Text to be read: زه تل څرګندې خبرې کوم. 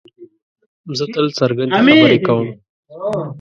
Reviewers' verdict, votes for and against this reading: rejected, 1, 2